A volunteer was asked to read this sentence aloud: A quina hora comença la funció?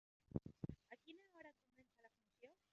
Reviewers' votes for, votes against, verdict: 0, 2, rejected